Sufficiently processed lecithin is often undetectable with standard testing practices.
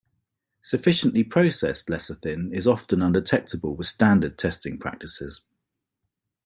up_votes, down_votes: 2, 0